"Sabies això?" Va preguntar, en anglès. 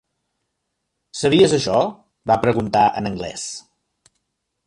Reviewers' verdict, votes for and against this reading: accepted, 2, 0